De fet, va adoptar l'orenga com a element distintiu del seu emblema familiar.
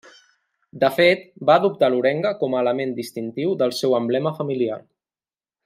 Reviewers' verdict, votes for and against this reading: accepted, 2, 0